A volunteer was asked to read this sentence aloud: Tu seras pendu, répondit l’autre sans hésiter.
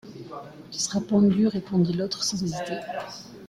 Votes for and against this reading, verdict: 0, 2, rejected